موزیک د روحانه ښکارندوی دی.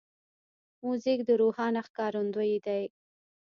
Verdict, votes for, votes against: rejected, 1, 2